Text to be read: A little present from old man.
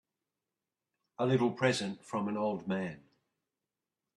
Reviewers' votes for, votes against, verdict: 0, 2, rejected